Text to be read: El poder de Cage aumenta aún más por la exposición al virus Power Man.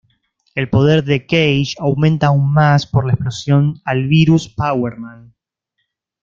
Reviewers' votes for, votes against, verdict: 1, 2, rejected